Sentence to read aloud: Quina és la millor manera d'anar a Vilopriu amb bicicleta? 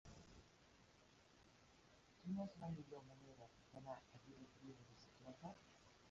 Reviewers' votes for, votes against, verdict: 0, 2, rejected